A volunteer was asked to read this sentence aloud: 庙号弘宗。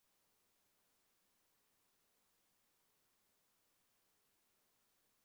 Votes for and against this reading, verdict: 0, 3, rejected